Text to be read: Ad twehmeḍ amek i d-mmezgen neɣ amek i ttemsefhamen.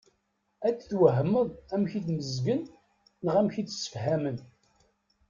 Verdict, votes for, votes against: rejected, 1, 2